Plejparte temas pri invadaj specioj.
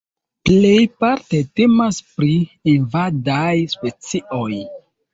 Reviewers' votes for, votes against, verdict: 2, 0, accepted